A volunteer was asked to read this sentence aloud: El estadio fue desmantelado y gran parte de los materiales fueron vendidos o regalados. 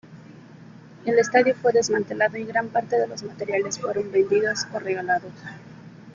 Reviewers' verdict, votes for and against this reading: accepted, 2, 1